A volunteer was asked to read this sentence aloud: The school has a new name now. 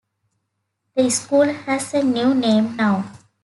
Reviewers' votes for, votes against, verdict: 2, 0, accepted